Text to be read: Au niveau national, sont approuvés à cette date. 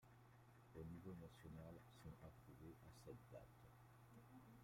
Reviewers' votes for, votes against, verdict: 1, 2, rejected